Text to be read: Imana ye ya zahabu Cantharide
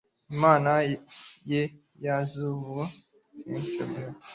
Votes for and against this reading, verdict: 1, 2, rejected